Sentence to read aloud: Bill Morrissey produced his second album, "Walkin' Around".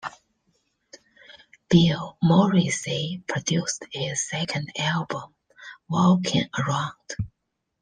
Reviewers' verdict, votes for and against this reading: accepted, 2, 0